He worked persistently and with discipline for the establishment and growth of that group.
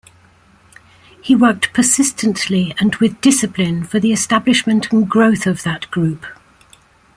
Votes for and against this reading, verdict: 2, 0, accepted